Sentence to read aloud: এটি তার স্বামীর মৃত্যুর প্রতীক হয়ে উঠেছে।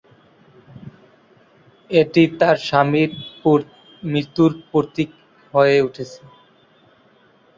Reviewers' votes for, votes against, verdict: 0, 2, rejected